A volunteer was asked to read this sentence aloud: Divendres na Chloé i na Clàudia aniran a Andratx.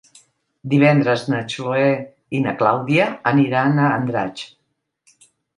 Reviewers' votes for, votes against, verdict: 0, 2, rejected